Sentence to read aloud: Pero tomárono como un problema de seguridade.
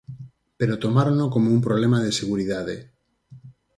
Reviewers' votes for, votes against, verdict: 4, 0, accepted